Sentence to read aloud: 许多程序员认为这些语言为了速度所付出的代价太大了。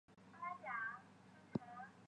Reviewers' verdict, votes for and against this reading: rejected, 0, 4